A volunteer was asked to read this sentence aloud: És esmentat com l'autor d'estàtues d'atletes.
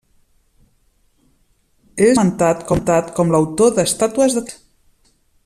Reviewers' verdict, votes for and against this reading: rejected, 0, 2